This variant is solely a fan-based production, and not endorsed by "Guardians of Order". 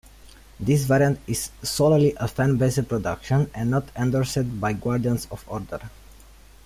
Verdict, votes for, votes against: rejected, 0, 2